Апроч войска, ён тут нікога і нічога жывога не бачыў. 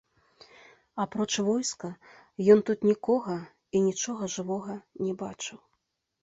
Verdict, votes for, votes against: accepted, 2, 0